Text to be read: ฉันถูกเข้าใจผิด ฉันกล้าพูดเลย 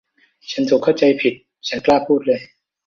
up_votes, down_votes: 2, 0